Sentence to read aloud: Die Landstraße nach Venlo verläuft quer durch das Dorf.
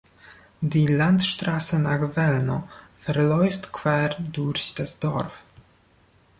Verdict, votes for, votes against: rejected, 0, 2